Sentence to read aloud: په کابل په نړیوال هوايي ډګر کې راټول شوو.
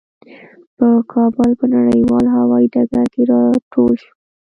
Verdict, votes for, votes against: rejected, 1, 2